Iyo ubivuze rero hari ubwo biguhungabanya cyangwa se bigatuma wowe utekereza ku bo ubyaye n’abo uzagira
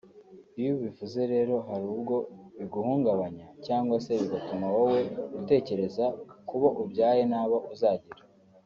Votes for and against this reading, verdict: 3, 0, accepted